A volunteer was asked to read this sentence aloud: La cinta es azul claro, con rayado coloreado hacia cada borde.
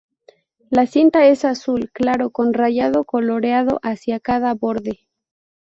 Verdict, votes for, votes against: accepted, 4, 0